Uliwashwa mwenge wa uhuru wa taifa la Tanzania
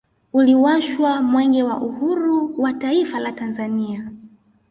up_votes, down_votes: 1, 2